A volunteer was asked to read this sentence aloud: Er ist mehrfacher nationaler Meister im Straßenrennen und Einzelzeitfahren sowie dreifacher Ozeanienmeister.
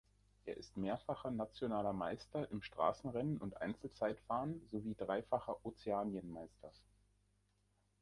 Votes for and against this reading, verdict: 1, 2, rejected